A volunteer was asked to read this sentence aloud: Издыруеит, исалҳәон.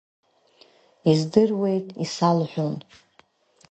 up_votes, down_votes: 2, 0